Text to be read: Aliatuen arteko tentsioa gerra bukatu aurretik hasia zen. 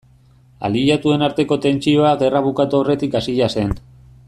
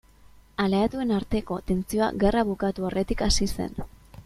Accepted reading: first